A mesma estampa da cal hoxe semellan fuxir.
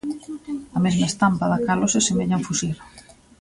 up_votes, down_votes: 2, 0